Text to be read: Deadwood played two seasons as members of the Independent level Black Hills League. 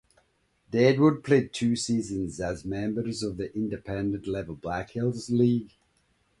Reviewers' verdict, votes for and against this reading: accepted, 2, 0